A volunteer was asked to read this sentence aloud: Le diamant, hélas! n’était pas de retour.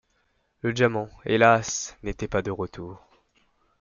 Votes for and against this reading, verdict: 2, 0, accepted